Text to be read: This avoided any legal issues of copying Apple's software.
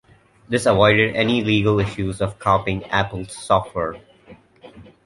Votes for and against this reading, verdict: 2, 0, accepted